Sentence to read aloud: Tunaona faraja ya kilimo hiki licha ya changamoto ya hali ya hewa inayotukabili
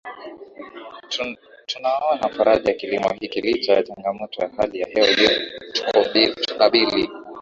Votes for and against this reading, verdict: 5, 1, accepted